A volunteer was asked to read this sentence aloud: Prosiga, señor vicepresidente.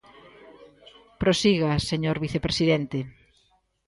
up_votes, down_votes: 2, 0